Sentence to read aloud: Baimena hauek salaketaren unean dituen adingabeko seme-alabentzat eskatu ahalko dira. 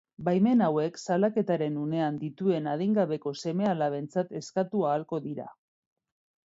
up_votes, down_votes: 2, 1